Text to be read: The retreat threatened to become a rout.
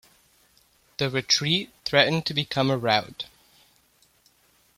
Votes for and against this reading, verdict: 2, 0, accepted